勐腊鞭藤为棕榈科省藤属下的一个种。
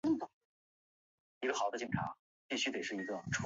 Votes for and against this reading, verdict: 0, 7, rejected